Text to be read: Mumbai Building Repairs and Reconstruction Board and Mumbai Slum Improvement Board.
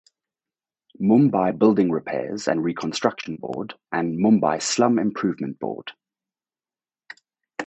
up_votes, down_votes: 4, 0